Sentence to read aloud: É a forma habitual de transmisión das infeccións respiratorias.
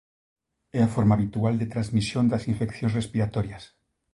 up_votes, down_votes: 2, 0